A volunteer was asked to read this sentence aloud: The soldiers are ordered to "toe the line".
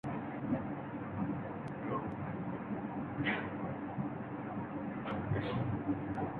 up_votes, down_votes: 0, 2